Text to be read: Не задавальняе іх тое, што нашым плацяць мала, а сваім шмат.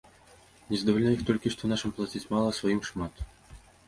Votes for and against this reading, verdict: 1, 2, rejected